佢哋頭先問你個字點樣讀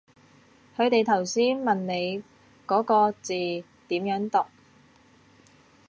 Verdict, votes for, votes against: rejected, 0, 2